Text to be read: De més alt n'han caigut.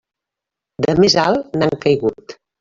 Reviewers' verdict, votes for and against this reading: accepted, 3, 0